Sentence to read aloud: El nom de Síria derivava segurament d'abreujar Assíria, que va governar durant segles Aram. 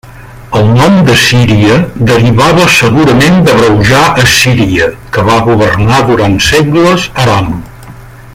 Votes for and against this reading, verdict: 2, 1, accepted